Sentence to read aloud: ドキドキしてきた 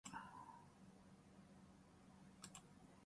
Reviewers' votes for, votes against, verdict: 0, 2, rejected